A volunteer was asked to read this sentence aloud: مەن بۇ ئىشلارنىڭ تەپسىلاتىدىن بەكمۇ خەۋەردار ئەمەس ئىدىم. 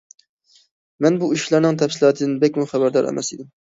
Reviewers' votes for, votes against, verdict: 2, 0, accepted